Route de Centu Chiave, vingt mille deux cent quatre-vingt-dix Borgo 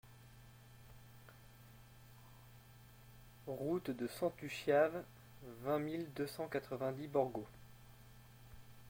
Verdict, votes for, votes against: accepted, 2, 1